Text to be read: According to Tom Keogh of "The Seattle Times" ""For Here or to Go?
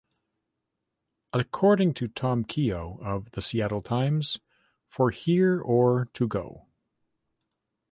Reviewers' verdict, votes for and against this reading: accepted, 2, 0